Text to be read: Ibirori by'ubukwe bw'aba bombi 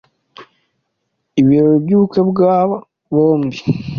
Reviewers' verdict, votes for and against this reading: accepted, 2, 0